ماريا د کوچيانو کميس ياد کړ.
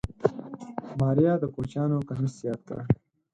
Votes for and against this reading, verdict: 4, 0, accepted